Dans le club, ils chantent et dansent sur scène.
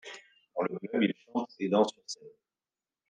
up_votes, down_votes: 1, 2